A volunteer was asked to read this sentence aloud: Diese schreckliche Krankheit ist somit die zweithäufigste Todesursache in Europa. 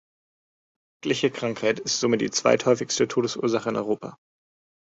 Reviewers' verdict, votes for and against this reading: rejected, 1, 2